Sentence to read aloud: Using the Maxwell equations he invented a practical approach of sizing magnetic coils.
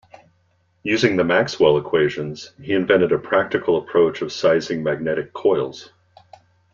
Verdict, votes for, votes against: accepted, 2, 0